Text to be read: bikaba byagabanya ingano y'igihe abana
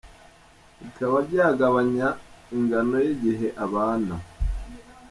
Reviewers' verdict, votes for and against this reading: accepted, 2, 0